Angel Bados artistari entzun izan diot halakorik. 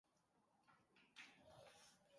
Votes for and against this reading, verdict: 0, 2, rejected